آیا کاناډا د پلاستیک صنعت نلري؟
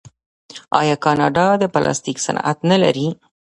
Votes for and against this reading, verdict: 1, 2, rejected